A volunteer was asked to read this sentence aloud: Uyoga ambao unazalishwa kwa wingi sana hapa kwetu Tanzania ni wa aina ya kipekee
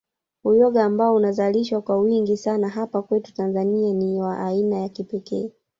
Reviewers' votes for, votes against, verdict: 0, 2, rejected